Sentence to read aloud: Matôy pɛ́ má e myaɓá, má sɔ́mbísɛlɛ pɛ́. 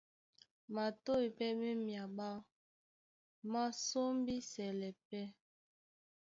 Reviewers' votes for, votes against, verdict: 2, 0, accepted